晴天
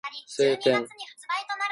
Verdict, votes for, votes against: rejected, 0, 2